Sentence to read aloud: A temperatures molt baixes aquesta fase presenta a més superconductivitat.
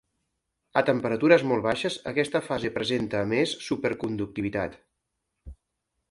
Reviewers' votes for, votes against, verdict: 2, 0, accepted